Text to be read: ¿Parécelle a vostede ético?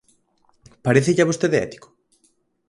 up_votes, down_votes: 4, 0